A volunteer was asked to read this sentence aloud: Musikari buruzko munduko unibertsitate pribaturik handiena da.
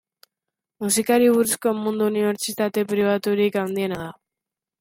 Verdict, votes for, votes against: accepted, 2, 0